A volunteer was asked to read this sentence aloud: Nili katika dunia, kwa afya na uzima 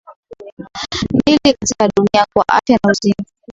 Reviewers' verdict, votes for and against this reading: accepted, 5, 4